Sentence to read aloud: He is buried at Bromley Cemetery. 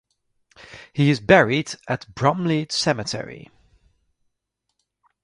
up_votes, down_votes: 4, 0